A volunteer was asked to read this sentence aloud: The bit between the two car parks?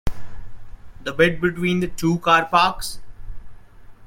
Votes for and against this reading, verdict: 2, 0, accepted